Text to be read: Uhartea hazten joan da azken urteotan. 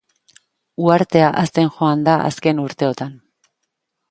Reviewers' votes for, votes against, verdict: 2, 0, accepted